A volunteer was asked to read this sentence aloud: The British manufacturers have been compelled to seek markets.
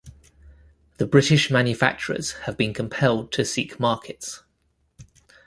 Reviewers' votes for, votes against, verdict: 2, 0, accepted